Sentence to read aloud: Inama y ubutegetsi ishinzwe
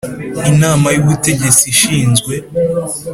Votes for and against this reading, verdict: 2, 0, accepted